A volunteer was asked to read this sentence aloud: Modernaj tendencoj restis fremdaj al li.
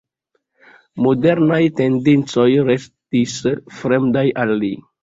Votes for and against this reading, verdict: 2, 0, accepted